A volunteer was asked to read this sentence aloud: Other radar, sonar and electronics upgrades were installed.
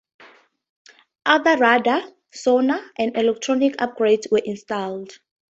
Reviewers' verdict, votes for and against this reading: accepted, 2, 0